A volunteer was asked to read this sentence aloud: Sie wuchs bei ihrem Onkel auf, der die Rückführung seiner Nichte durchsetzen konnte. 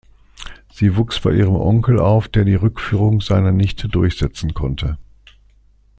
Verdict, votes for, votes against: accepted, 2, 0